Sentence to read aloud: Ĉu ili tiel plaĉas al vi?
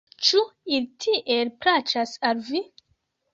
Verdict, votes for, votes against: accepted, 2, 0